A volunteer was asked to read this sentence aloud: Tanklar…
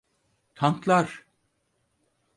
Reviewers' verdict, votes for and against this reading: accepted, 4, 0